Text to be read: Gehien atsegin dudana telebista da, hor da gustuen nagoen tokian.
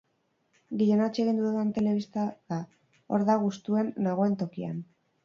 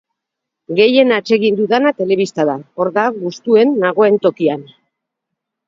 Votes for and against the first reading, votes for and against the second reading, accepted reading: 2, 2, 8, 0, second